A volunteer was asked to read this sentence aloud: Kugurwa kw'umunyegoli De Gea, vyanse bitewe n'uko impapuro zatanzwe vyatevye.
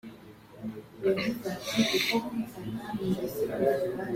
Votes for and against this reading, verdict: 0, 2, rejected